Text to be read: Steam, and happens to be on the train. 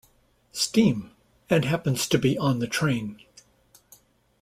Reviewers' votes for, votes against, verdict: 2, 0, accepted